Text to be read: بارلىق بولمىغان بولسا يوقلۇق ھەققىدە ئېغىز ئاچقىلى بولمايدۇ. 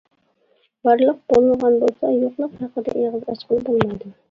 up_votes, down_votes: 2, 1